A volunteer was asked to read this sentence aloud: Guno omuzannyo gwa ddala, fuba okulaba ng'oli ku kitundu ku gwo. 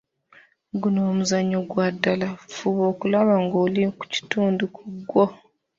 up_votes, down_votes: 2, 0